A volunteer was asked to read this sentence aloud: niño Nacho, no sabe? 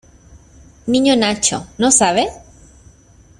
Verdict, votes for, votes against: accepted, 2, 0